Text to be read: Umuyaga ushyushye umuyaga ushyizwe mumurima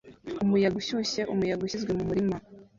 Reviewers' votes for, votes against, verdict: 0, 2, rejected